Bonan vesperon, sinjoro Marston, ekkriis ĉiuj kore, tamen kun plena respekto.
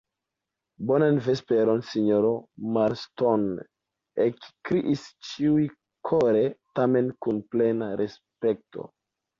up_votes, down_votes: 2, 0